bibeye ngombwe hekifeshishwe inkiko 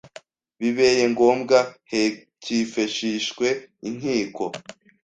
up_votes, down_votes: 1, 2